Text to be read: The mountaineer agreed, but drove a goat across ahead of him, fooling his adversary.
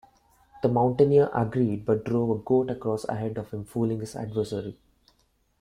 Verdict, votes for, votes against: accepted, 2, 0